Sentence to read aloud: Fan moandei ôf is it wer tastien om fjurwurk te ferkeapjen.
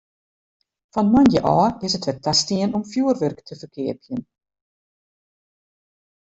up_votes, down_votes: 0, 2